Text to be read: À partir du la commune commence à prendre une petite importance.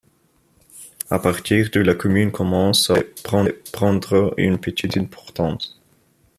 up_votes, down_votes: 0, 2